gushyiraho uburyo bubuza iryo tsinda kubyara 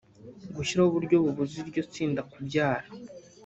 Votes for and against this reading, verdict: 2, 0, accepted